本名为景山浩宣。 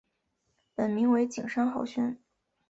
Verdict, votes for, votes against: accepted, 8, 0